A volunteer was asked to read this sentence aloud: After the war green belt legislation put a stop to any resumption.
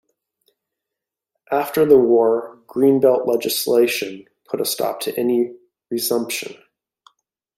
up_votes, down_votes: 1, 2